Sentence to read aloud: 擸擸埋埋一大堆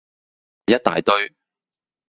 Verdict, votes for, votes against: rejected, 2, 2